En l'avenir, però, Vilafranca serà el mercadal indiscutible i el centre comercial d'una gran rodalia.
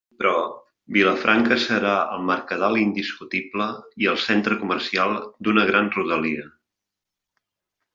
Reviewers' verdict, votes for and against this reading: rejected, 0, 2